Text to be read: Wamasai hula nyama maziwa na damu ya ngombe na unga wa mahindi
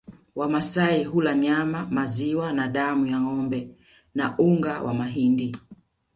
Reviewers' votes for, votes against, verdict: 2, 0, accepted